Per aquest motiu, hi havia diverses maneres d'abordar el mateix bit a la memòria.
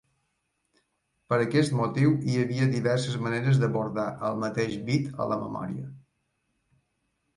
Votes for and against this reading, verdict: 3, 0, accepted